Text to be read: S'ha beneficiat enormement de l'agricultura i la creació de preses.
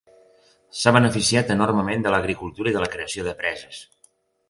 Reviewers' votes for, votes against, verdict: 1, 2, rejected